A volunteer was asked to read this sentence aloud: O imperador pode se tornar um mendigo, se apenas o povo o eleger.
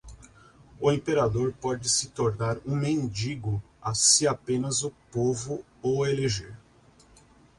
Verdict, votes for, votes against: rejected, 0, 2